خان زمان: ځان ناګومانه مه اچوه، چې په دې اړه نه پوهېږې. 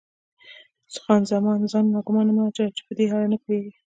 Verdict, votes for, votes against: rejected, 0, 2